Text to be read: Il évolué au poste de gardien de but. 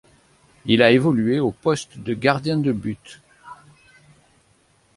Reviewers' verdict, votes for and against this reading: rejected, 1, 2